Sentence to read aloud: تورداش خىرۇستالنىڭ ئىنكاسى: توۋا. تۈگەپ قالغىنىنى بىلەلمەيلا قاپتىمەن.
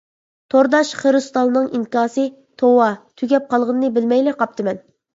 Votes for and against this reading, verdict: 1, 2, rejected